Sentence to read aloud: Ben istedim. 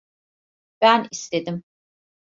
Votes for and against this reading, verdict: 2, 0, accepted